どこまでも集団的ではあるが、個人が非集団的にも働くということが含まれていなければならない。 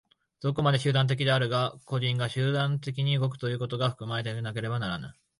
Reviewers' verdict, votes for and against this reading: rejected, 1, 2